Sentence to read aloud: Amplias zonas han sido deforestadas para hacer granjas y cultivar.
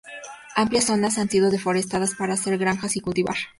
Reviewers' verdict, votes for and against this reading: accepted, 2, 0